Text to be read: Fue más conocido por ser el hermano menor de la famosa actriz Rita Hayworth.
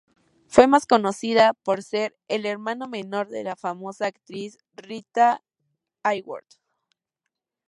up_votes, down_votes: 0, 2